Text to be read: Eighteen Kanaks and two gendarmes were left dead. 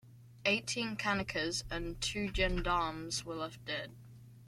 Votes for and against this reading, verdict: 1, 2, rejected